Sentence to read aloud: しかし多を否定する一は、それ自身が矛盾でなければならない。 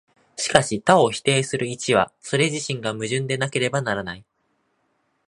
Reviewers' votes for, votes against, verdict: 2, 0, accepted